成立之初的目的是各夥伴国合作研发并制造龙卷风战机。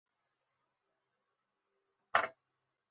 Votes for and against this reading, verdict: 0, 2, rejected